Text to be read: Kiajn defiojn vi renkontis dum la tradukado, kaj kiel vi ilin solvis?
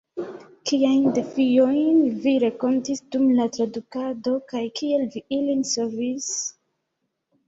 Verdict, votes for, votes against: rejected, 1, 2